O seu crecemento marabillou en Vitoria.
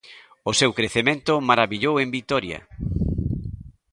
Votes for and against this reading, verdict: 2, 0, accepted